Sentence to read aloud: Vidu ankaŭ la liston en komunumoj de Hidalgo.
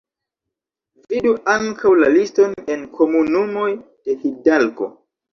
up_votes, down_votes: 2, 0